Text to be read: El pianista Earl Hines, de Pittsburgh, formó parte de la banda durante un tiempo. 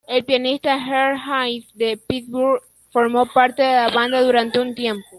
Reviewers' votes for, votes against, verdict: 2, 1, accepted